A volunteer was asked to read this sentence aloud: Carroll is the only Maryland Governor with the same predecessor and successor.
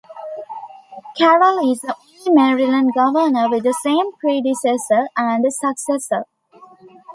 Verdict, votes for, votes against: rejected, 1, 2